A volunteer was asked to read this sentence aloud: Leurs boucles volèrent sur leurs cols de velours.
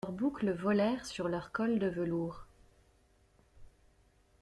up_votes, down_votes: 2, 0